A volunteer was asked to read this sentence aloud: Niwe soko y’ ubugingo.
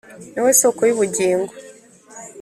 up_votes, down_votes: 2, 0